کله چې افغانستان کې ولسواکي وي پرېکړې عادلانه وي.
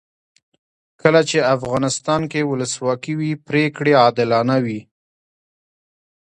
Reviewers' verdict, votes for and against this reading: accepted, 2, 1